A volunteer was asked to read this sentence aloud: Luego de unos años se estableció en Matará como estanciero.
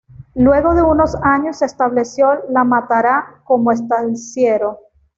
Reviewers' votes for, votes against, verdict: 1, 2, rejected